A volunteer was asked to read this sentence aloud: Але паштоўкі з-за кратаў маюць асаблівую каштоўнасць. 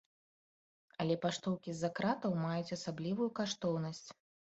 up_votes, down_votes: 2, 0